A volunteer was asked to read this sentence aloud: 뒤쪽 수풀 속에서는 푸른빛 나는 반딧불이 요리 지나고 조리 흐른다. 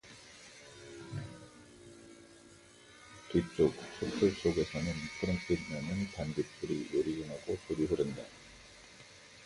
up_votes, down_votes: 0, 2